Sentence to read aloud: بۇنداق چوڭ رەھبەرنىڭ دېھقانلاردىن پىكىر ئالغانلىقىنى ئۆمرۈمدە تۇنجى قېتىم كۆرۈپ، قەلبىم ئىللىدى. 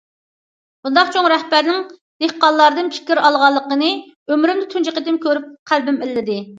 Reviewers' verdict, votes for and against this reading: accepted, 2, 0